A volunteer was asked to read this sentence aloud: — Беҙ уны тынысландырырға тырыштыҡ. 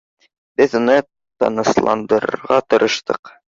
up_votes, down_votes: 2, 1